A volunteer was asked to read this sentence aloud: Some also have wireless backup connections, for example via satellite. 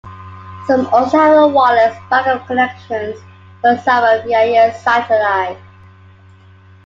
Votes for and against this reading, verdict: 1, 2, rejected